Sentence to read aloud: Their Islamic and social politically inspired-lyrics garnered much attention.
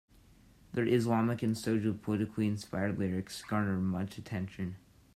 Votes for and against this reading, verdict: 1, 2, rejected